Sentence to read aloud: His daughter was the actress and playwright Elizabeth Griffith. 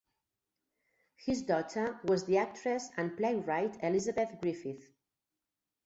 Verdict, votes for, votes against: rejected, 0, 2